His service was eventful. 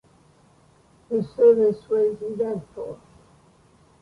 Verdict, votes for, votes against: accepted, 2, 0